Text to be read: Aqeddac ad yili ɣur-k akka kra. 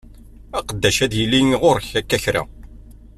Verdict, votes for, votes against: accepted, 2, 0